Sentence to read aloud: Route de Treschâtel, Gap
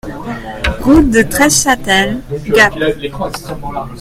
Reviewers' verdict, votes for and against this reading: accepted, 2, 0